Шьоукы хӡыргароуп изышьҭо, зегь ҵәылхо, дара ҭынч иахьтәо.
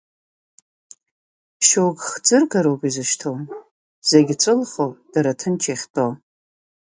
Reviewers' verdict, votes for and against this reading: accepted, 2, 0